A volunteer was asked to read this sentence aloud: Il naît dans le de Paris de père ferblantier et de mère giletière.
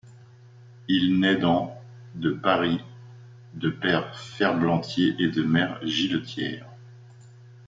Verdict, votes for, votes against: accepted, 2, 0